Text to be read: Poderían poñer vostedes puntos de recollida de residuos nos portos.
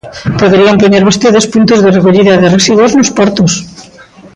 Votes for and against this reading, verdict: 1, 2, rejected